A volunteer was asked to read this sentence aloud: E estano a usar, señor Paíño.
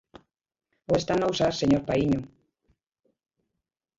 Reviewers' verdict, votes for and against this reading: rejected, 1, 4